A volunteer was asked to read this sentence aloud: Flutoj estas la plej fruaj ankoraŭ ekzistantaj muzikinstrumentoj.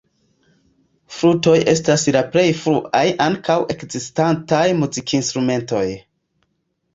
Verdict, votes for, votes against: rejected, 0, 2